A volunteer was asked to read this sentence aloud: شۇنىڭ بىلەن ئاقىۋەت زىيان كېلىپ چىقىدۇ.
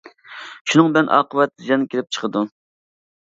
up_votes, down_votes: 2, 1